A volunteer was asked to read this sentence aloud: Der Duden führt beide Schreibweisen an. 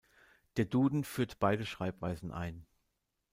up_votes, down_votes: 0, 3